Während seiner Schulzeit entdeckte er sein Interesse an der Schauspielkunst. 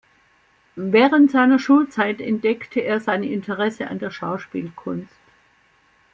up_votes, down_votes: 2, 0